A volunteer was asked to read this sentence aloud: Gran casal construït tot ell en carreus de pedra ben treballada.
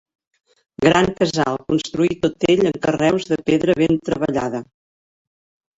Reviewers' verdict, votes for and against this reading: rejected, 0, 2